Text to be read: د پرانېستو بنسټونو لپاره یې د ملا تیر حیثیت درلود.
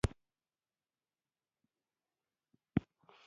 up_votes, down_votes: 0, 2